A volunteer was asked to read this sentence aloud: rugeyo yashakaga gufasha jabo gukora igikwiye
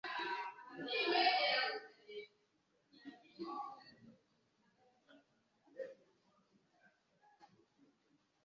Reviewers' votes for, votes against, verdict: 1, 2, rejected